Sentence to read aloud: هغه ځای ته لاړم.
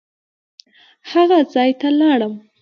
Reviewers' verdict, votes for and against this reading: accepted, 2, 0